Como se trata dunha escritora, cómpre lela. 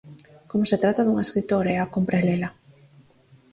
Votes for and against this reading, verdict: 0, 4, rejected